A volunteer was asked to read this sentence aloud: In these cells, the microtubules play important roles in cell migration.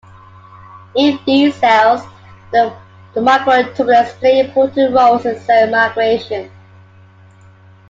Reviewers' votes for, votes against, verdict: 0, 2, rejected